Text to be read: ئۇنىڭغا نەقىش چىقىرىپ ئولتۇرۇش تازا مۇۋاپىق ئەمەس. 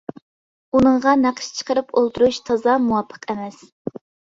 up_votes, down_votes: 2, 0